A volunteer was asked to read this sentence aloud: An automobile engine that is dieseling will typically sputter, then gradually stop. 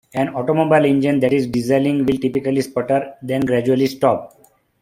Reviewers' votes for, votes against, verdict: 0, 2, rejected